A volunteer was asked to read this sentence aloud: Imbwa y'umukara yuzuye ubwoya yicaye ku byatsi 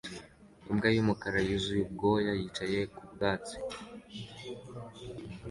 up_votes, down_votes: 2, 1